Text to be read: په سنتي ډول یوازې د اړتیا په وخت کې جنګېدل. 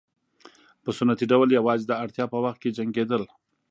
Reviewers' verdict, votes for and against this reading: accepted, 3, 0